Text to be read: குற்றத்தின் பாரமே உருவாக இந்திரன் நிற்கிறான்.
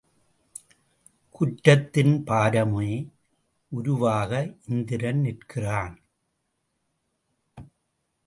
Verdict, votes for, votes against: rejected, 0, 2